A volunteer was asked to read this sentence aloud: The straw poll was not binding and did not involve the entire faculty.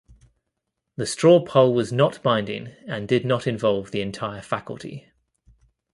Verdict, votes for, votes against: accepted, 2, 0